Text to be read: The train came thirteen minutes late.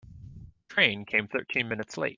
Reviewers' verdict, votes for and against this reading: rejected, 0, 2